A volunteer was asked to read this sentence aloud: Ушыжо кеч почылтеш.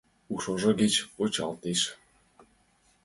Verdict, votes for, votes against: accepted, 2, 1